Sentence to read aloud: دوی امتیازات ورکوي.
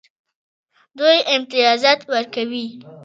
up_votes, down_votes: 2, 0